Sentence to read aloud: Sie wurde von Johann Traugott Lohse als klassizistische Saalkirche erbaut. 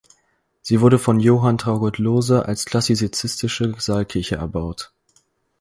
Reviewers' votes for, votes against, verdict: 2, 4, rejected